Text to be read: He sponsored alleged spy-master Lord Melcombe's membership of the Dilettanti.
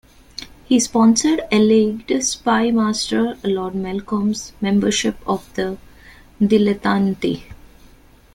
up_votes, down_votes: 1, 2